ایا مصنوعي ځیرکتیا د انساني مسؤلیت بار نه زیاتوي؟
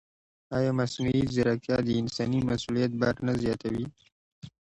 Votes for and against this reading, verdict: 2, 0, accepted